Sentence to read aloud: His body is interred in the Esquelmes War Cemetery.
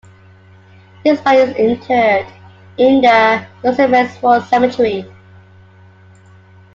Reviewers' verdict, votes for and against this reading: rejected, 0, 2